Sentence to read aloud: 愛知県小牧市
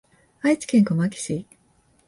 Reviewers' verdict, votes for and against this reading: accepted, 2, 0